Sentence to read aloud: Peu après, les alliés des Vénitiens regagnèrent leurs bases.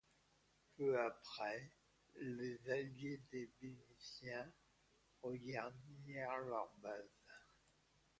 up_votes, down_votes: 0, 2